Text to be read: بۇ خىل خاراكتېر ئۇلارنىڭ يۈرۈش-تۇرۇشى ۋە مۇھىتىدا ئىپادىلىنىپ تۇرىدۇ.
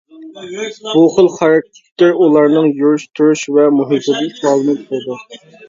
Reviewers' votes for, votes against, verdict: 1, 2, rejected